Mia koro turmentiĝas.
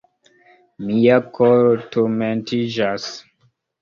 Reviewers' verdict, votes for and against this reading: accepted, 2, 1